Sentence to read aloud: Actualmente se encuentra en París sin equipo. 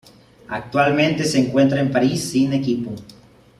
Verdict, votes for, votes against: accepted, 2, 0